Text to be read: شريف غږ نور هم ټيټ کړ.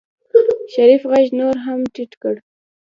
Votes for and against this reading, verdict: 1, 2, rejected